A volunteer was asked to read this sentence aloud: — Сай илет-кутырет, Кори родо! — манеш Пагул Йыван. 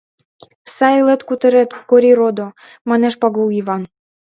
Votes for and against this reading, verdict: 2, 0, accepted